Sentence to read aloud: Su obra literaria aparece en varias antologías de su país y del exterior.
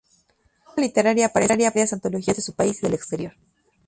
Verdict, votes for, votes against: rejected, 0, 2